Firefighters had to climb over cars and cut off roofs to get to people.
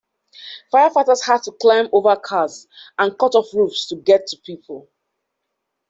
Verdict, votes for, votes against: accepted, 2, 1